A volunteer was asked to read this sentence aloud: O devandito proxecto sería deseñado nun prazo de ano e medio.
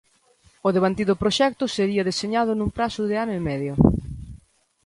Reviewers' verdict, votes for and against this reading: rejected, 1, 2